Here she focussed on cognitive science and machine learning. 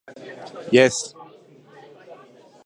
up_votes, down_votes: 0, 2